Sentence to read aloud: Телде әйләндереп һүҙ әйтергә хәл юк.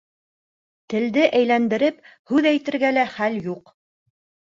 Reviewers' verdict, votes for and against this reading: accepted, 2, 1